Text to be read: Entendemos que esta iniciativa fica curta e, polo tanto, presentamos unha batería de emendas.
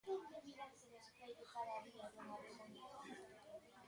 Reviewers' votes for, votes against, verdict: 0, 2, rejected